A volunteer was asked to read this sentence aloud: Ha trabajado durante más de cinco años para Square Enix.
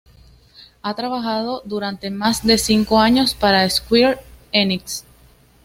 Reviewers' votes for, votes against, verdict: 2, 0, accepted